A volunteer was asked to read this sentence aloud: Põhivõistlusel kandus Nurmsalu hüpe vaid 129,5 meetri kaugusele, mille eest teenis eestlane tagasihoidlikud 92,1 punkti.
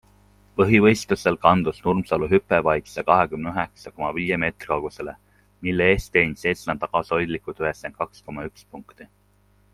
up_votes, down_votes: 0, 2